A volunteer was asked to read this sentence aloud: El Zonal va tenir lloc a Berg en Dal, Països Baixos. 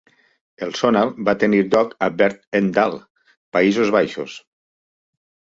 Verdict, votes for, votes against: accepted, 2, 1